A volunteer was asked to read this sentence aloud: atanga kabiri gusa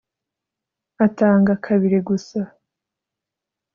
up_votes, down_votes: 2, 0